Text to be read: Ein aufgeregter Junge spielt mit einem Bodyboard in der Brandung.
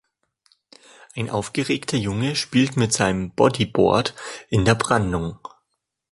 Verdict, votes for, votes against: rejected, 0, 2